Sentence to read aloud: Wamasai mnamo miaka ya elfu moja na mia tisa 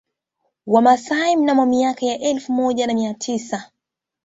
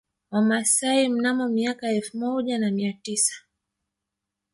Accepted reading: first